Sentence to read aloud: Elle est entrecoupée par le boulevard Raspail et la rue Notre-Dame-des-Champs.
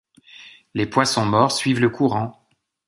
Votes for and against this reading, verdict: 0, 2, rejected